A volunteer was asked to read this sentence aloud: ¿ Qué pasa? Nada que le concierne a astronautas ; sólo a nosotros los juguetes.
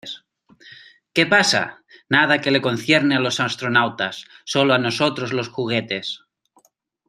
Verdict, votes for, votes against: rejected, 0, 2